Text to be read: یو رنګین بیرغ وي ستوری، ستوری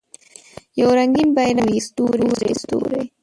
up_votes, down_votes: 0, 2